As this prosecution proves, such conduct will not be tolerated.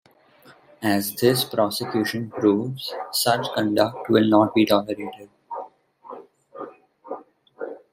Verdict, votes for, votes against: rejected, 0, 2